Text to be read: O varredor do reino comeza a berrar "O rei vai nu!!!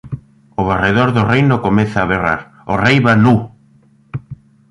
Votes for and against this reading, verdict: 0, 3, rejected